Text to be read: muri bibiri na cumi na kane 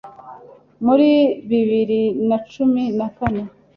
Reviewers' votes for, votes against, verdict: 2, 0, accepted